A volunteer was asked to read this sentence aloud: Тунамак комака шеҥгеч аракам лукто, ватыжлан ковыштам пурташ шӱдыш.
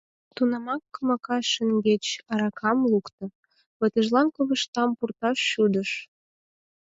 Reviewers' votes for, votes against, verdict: 4, 0, accepted